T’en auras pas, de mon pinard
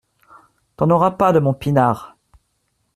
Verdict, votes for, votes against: accepted, 2, 0